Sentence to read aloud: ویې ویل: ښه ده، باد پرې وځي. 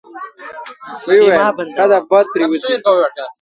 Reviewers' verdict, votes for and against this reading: rejected, 0, 2